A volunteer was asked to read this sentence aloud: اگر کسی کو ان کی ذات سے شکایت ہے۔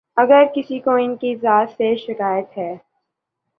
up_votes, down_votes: 2, 0